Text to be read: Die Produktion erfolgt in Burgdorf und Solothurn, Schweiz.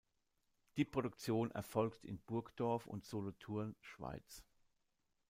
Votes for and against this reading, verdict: 2, 0, accepted